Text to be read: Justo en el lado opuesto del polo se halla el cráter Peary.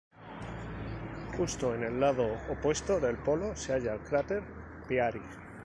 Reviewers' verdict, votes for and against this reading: rejected, 0, 2